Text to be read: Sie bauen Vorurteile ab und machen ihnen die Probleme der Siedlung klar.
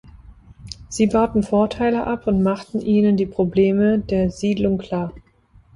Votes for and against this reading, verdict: 1, 2, rejected